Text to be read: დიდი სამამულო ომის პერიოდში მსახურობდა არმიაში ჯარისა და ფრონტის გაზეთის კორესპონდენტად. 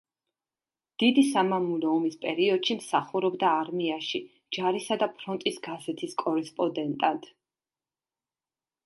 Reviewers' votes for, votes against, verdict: 1, 2, rejected